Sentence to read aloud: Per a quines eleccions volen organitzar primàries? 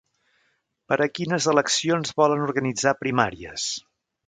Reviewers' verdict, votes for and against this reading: accepted, 3, 0